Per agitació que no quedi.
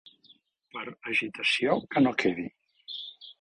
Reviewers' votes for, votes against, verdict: 0, 2, rejected